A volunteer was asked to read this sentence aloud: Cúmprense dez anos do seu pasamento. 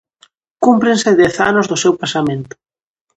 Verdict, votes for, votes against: accepted, 2, 0